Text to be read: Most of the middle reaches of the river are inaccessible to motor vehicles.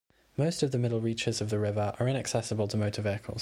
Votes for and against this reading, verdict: 2, 1, accepted